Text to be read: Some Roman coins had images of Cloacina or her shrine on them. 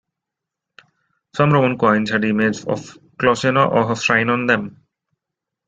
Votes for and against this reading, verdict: 0, 2, rejected